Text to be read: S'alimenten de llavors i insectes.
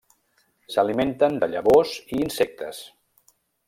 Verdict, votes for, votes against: accepted, 3, 0